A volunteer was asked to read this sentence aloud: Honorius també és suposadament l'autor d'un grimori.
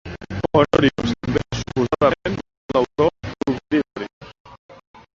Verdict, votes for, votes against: rejected, 0, 2